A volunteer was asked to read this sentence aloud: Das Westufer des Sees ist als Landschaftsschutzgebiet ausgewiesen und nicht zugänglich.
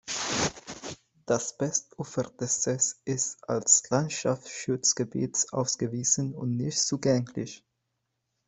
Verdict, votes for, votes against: rejected, 0, 2